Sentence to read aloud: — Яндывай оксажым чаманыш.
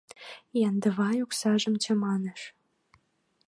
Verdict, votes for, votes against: accepted, 4, 0